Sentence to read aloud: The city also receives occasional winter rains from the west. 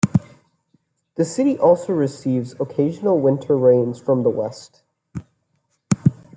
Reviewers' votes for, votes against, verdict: 2, 0, accepted